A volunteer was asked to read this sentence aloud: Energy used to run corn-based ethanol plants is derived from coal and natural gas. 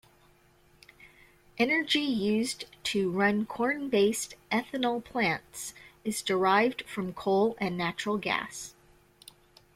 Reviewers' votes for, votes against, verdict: 2, 0, accepted